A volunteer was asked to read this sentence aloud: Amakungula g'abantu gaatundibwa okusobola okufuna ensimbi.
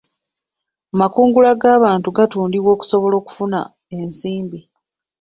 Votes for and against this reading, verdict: 0, 2, rejected